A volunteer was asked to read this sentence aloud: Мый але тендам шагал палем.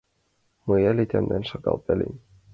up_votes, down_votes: 1, 2